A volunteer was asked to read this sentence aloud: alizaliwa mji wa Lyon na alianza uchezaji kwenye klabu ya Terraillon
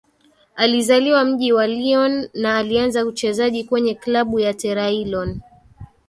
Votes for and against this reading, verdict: 2, 3, rejected